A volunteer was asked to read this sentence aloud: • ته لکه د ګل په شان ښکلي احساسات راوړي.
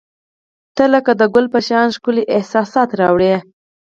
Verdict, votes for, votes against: accepted, 4, 0